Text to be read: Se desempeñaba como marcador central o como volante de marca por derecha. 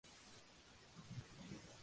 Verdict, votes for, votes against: rejected, 0, 2